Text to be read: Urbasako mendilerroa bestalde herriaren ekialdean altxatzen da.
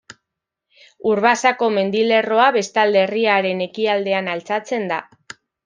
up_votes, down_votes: 2, 0